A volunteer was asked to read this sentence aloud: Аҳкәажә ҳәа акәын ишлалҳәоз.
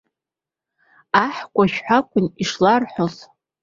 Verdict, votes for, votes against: rejected, 1, 2